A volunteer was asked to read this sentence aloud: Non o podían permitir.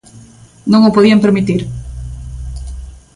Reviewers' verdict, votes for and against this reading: accepted, 2, 0